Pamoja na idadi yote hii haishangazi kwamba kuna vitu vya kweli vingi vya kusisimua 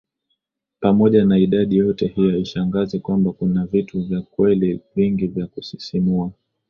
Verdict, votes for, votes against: accepted, 2, 0